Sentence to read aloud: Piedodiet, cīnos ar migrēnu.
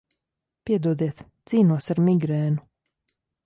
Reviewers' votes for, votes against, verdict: 2, 0, accepted